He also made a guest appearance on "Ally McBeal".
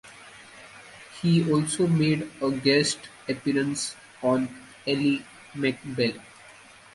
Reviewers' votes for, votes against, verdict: 2, 1, accepted